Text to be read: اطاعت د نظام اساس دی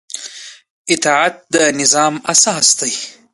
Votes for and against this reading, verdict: 2, 0, accepted